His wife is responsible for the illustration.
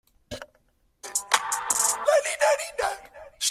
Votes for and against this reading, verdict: 0, 2, rejected